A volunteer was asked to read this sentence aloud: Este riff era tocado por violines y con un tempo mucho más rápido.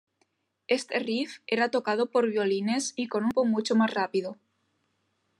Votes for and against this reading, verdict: 1, 2, rejected